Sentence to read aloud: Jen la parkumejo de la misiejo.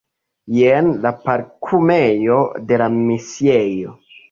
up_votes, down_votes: 2, 0